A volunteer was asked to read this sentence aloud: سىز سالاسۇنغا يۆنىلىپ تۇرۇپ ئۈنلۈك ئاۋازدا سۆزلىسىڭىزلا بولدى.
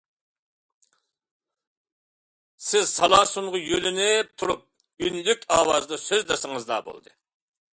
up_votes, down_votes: 2, 0